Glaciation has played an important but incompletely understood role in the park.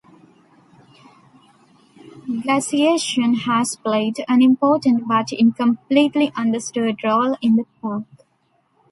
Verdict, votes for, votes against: rejected, 1, 2